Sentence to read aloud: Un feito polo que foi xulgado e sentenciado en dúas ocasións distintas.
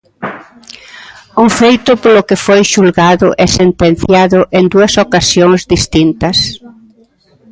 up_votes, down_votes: 0, 2